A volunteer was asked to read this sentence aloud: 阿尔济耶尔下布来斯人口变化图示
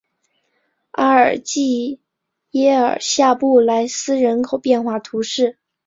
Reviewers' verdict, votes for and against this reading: accepted, 4, 1